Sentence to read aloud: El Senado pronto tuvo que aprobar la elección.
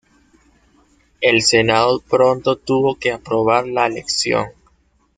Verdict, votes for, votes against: accepted, 2, 1